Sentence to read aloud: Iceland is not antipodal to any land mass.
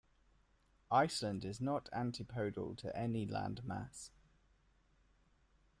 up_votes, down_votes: 0, 2